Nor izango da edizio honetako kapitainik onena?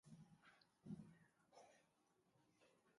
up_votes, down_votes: 0, 2